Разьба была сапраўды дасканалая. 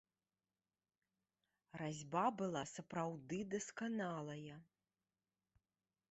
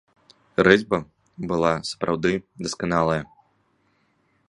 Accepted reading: first